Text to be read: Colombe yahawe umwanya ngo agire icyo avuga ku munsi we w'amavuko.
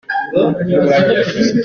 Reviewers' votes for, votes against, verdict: 0, 2, rejected